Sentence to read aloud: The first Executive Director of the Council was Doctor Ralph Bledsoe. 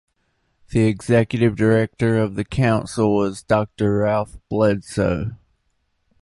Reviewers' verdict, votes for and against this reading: rejected, 1, 2